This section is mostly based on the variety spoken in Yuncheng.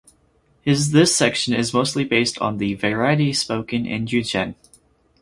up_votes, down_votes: 2, 2